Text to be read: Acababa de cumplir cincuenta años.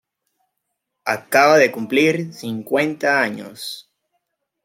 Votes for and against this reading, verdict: 2, 0, accepted